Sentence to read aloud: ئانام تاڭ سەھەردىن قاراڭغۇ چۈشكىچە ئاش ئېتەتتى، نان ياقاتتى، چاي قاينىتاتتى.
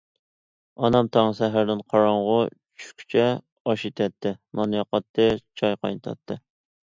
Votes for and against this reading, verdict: 2, 0, accepted